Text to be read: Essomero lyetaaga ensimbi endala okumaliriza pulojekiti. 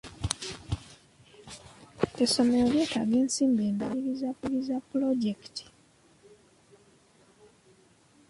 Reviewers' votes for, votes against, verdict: 0, 2, rejected